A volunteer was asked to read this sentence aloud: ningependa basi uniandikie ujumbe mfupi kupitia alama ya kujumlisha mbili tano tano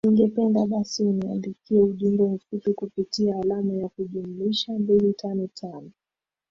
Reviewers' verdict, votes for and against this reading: rejected, 3, 3